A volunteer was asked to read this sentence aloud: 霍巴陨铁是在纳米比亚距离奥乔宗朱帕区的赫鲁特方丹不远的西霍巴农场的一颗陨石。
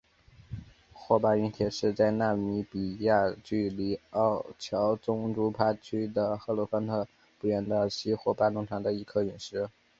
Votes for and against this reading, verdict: 2, 3, rejected